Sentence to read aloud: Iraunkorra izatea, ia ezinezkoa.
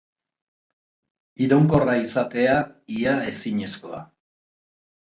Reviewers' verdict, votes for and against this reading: accepted, 3, 0